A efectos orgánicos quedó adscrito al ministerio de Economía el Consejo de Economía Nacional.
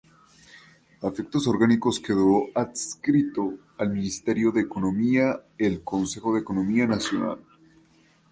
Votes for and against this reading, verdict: 2, 0, accepted